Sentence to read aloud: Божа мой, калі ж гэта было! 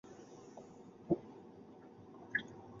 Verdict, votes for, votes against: rejected, 0, 2